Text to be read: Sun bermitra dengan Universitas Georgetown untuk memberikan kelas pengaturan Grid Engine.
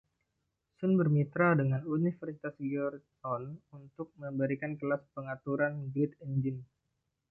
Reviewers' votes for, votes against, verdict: 2, 0, accepted